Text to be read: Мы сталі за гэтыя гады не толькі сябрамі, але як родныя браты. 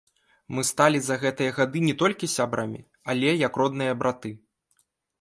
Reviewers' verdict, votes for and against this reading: rejected, 0, 2